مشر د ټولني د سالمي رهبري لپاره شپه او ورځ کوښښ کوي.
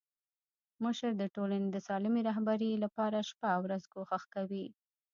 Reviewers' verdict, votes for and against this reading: rejected, 1, 2